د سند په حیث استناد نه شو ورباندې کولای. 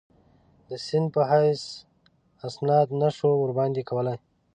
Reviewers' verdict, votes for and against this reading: rejected, 2, 3